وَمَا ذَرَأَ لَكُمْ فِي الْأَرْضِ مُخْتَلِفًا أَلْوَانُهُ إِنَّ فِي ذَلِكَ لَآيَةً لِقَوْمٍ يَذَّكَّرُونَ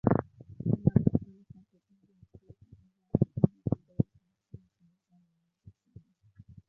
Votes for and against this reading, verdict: 0, 2, rejected